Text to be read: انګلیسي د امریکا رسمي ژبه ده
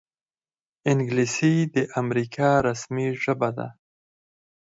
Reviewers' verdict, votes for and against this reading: accepted, 4, 0